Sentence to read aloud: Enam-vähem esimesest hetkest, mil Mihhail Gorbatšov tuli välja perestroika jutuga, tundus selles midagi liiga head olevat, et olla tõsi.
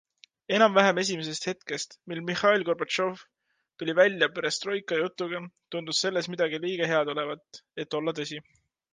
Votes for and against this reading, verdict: 2, 1, accepted